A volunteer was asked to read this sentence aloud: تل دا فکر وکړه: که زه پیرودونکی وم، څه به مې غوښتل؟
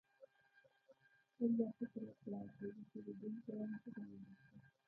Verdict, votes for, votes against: rejected, 1, 2